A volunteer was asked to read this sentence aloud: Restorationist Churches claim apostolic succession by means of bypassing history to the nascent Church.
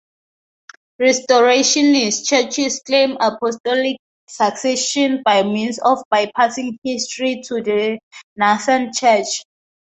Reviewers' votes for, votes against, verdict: 2, 0, accepted